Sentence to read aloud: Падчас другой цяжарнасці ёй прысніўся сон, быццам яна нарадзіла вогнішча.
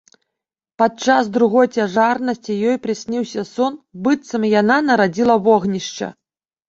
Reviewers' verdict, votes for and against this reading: accepted, 2, 0